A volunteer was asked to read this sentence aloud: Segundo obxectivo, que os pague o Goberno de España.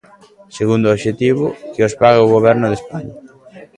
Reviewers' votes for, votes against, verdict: 2, 0, accepted